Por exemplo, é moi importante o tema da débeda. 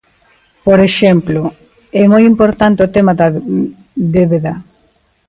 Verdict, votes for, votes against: rejected, 0, 4